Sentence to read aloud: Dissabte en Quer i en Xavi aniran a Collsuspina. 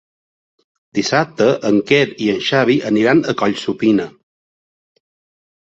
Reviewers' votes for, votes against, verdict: 0, 2, rejected